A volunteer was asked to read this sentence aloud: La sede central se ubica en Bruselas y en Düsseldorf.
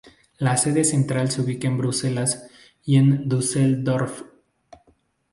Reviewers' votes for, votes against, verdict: 2, 2, rejected